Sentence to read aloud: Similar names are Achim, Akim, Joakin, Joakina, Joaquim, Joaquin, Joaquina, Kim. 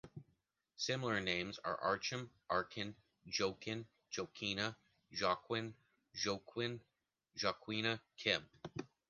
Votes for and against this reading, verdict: 0, 2, rejected